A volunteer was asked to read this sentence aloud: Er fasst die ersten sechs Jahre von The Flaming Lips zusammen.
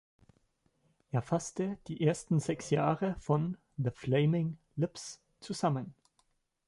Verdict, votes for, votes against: rejected, 0, 2